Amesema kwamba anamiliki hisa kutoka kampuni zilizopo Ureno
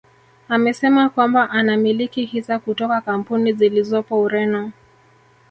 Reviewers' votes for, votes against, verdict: 1, 2, rejected